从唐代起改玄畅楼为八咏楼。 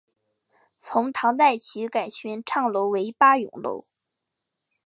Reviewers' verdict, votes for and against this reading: accepted, 2, 0